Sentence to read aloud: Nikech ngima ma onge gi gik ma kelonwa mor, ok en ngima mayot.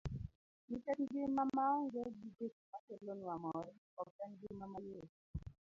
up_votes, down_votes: 1, 2